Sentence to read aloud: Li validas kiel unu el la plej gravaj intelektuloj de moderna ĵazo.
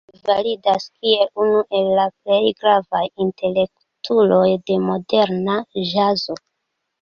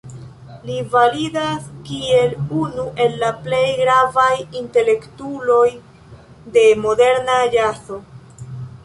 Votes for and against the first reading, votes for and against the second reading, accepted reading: 2, 0, 1, 2, first